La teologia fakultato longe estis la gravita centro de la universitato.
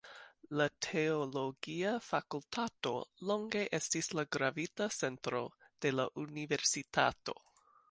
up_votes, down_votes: 0, 2